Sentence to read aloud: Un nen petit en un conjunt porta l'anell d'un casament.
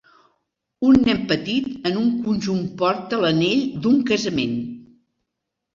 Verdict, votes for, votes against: accepted, 2, 0